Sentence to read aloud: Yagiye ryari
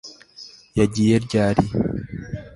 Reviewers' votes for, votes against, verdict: 2, 0, accepted